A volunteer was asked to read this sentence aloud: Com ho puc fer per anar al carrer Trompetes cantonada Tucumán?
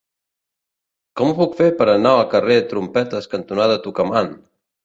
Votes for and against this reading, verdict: 1, 2, rejected